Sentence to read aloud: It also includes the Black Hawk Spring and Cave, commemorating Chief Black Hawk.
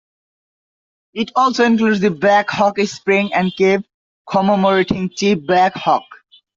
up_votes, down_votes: 1, 2